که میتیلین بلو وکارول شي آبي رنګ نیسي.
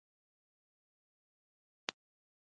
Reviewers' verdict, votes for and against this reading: rejected, 1, 2